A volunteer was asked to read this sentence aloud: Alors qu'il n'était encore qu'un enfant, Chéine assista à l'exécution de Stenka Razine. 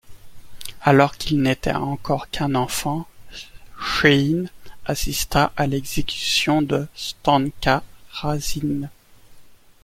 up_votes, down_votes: 2, 1